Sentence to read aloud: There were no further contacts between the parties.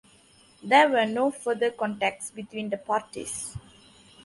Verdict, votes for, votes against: accepted, 2, 0